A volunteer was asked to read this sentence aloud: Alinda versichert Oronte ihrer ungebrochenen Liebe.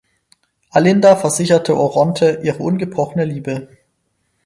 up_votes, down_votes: 2, 4